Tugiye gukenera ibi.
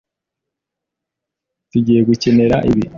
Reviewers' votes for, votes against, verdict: 2, 0, accepted